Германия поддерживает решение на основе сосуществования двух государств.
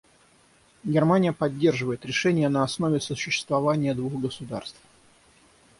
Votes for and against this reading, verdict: 3, 0, accepted